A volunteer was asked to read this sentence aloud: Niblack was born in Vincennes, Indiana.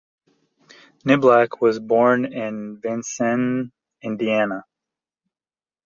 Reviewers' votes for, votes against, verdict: 2, 0, accepted